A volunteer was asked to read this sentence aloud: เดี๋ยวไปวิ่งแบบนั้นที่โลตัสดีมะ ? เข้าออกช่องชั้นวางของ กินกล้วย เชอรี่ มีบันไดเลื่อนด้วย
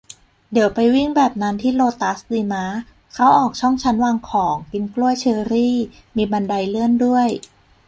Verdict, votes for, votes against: accepted, 2, 0